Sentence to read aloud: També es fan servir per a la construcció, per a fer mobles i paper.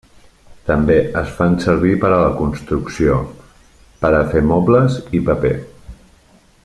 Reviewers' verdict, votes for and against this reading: accepted, 3, 0